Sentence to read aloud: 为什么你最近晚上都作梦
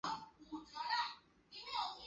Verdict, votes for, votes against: rejected, 0, 2